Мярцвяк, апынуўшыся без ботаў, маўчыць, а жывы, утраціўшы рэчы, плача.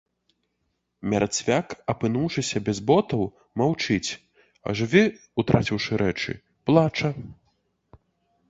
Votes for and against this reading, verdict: 2, 3, rejected